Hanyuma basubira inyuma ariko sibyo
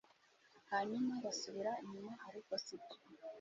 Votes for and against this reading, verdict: 0, 2, rejected